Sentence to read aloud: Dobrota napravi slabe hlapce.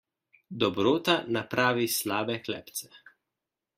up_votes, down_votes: 1, 2